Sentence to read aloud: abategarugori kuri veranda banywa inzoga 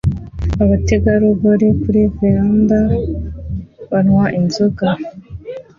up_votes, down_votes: 2, 1